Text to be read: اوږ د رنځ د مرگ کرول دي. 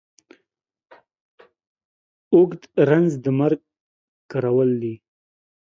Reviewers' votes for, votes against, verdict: 2, 1, accepted